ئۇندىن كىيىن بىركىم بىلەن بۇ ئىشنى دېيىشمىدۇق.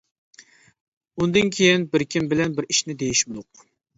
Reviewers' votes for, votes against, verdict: 0, 2, rejected